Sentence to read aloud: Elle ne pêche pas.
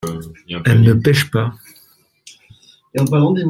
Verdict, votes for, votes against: rejected, 0, 2